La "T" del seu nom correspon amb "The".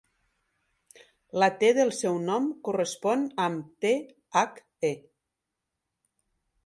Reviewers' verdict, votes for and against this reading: rejected, 1, 2